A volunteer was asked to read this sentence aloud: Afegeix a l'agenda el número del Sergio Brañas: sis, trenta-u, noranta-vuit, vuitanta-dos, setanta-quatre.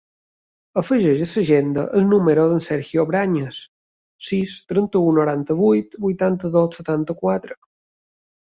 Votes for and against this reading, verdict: 2, 1, accepted